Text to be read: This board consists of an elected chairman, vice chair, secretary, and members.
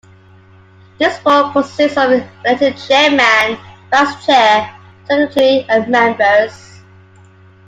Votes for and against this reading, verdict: 0, 2, rejected